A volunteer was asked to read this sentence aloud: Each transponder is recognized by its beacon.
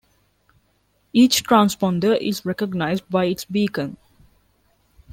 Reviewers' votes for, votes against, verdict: 2, 0, accepted